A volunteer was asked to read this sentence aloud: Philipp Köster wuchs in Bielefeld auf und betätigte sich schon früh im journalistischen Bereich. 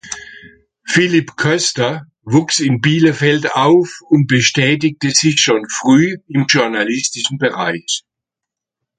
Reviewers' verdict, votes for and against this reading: rejected, 0, 2